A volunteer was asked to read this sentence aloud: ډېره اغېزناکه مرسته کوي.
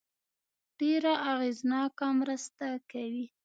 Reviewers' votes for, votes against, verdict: 2, 0, accepted